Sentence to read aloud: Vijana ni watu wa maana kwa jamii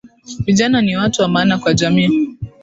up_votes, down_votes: 2, 0